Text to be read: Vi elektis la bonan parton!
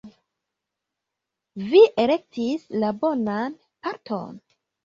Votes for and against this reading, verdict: 1, 2, rejected